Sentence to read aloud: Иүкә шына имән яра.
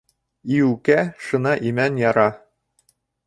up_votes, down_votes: 0, 2